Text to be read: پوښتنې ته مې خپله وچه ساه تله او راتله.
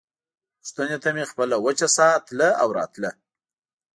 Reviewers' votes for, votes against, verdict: 1, 2, rejected